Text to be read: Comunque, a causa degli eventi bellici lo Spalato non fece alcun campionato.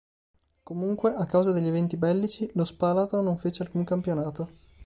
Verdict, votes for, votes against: accepted, 2, 0